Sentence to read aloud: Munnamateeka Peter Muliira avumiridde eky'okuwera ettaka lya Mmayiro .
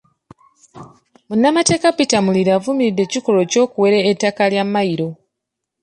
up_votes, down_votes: 0, 2